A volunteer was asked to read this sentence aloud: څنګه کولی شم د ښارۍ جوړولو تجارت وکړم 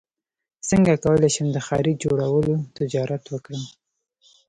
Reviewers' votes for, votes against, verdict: 1, 2, rejected